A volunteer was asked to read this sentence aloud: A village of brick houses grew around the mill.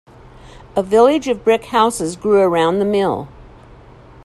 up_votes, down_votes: 2, 0